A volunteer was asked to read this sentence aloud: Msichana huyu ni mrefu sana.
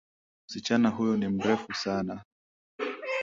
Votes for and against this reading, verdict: 2, 0, accepted